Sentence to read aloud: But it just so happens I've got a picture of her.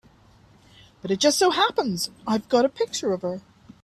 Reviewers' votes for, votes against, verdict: 3, 0, accepted